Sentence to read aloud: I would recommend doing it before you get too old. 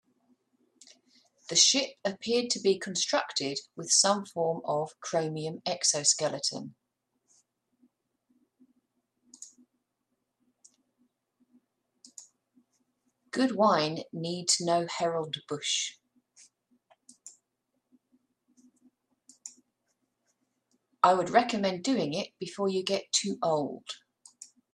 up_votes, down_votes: 0, 2